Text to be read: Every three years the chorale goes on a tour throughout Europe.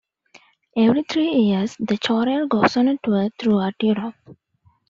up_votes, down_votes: 1, 2